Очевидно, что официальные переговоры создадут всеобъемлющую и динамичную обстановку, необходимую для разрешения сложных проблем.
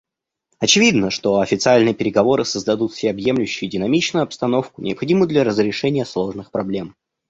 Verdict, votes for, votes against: accepted, 2, 0